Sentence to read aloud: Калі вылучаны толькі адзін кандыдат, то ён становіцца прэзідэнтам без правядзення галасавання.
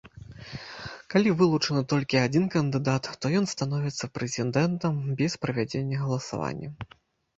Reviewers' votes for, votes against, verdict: 1, 2, rejected